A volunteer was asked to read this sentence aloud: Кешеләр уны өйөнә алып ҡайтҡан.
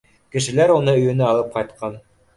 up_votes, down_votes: 2, 0